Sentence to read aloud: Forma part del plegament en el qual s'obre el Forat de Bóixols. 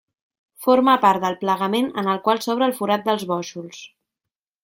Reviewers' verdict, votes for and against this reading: rejected, 0, 2